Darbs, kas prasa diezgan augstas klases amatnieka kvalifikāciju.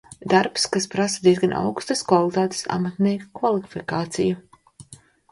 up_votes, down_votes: 0, 2